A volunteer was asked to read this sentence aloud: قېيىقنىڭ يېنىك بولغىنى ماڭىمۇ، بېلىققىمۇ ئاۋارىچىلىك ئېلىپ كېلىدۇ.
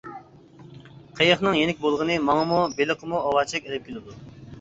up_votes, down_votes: 2, 1